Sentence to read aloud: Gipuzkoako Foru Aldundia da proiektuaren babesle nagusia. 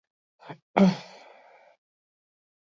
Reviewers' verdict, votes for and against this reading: rejected, 0, 4